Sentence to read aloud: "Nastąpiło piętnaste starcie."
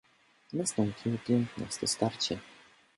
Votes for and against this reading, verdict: 1, 2, rejected